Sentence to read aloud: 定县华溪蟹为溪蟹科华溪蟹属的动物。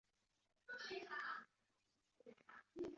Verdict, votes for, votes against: rejected, 0, 4